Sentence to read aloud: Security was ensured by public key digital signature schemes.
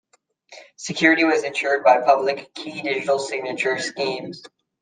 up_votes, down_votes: 2, 0